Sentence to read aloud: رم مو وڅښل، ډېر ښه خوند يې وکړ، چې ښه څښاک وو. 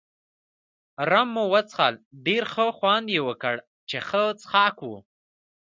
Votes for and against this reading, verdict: 2, 0, accepted